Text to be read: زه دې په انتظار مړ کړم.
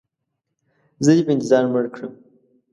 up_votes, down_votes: 2, 0